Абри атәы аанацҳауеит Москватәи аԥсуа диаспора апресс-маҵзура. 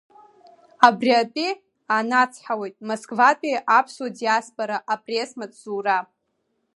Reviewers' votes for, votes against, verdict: 1, 2, rejected